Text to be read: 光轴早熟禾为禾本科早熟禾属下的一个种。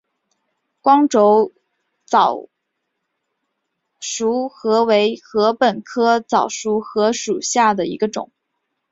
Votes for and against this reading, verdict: 2, 0, accepted